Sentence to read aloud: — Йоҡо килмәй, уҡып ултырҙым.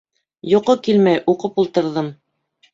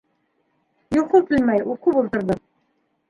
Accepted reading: first